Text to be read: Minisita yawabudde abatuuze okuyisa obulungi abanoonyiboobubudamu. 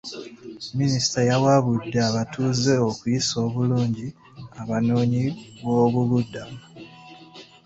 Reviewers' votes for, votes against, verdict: 2, 0, accepted